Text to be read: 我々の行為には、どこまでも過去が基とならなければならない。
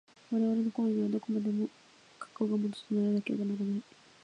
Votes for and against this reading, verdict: 2, 1, accepted